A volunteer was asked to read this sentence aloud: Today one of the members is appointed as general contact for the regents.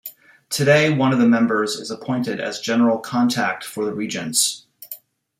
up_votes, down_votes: 1, 2